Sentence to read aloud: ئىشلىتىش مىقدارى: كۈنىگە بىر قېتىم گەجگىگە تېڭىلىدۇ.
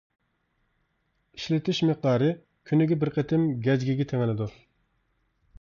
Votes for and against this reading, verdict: 2, 0, accepted